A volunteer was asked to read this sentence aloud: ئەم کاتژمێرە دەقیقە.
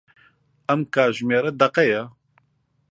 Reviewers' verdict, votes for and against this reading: rejected, 1, 3